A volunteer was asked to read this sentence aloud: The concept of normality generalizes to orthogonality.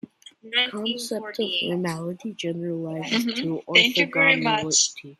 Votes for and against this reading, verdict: 0, 2, rejected